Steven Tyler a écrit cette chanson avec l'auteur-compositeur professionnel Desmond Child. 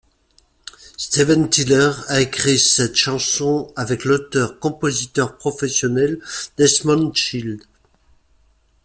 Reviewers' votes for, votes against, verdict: 2, 0, accepted